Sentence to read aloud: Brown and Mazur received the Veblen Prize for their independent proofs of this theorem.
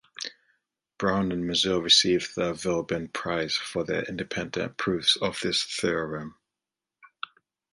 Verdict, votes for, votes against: accepted, 2, 0